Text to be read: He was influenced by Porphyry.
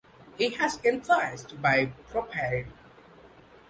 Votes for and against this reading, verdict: 0, 2, rejected